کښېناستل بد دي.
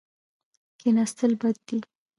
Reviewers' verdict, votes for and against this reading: rejected, 1, 2